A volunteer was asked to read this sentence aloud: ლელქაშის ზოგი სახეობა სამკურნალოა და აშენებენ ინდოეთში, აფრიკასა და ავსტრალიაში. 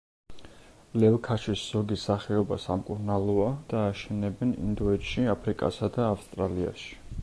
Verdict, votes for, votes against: accepted, 2, 0